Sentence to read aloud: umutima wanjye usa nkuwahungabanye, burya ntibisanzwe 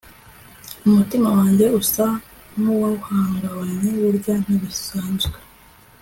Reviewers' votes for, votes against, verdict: 2, 1, accepted